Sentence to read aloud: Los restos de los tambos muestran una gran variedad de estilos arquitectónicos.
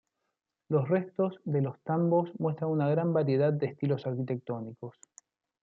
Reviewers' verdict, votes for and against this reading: accepted, 3, 1